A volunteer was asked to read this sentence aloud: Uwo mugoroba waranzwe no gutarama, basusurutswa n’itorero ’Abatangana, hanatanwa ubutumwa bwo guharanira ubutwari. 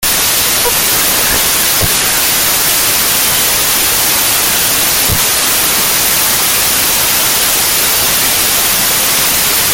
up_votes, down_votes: 0, 2